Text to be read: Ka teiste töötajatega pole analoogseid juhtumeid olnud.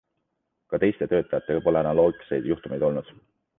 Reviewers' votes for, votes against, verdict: 2, 0, accepted